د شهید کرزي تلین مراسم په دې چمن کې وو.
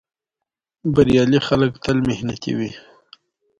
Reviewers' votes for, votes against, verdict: 2, 1, accepted